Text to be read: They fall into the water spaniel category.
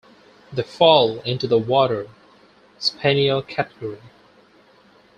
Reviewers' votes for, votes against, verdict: 4, 0, accepted